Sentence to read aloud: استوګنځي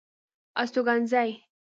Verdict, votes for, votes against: rejected, 1, 2